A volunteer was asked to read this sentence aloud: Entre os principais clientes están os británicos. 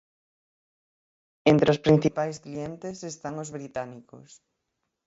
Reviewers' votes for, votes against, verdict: 6, 0, accepted